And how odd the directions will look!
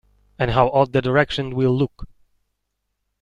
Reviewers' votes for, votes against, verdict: 1, 2, rejected